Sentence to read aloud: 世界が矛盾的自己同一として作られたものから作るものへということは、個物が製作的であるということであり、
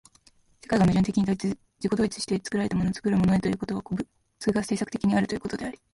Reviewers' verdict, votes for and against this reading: accepted, 3, 2